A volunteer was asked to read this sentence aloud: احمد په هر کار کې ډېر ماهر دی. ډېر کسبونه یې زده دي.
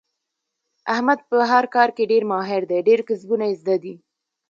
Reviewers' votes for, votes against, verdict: 0, 2, rejected